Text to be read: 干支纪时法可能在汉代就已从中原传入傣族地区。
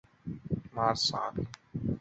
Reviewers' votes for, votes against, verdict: 0, 3, rejected